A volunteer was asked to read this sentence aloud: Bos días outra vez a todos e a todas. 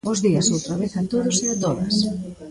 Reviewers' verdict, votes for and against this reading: accepted, 2, 1